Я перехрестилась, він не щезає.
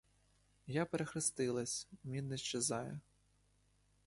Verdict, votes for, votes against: rejected, 0, 2